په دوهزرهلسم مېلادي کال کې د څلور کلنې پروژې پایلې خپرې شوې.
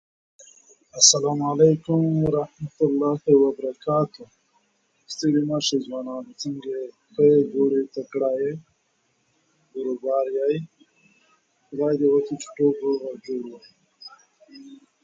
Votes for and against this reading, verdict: 0, 2, rejected